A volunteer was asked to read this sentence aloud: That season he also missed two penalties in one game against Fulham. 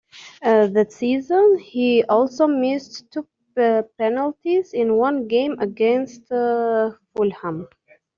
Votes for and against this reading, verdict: 0, 2, rejected